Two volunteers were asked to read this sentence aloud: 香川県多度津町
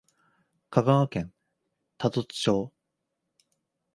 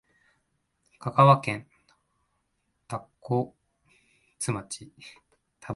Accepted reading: first